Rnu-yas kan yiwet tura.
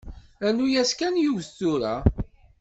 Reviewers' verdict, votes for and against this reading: accepted, 2, 0